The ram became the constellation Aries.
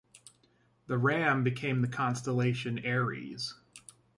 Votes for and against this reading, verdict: 2, 0, accepted